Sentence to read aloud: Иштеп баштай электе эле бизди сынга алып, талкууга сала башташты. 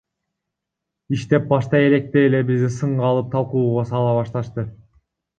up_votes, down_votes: 2, 0